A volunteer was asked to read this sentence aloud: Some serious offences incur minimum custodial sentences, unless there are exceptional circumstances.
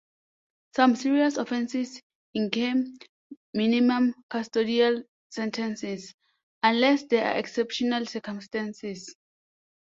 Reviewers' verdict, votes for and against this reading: rejected, 1, 2